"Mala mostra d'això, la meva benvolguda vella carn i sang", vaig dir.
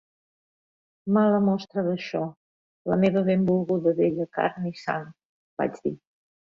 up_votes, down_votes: 3, 0